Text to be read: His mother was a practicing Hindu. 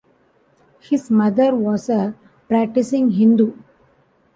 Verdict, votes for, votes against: accepted, 2, 0